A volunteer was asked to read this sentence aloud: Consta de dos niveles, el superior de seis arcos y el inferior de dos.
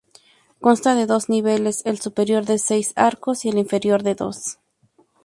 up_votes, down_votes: 2, 0